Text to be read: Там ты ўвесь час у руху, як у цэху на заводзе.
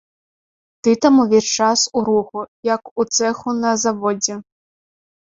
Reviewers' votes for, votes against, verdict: 2, 1, accepted